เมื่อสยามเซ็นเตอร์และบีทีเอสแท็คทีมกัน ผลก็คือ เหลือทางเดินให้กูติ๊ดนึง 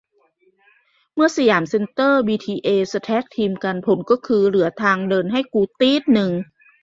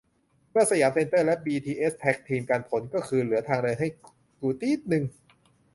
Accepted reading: second